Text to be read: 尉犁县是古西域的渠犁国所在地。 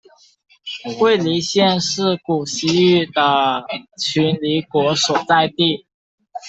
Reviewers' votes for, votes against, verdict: 2, 1, accepted